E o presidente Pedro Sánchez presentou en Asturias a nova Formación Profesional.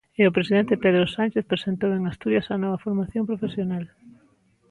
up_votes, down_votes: 1, 2